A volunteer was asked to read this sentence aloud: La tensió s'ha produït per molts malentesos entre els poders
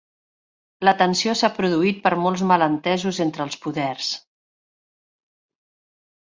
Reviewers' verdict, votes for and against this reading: accepted, 2, 0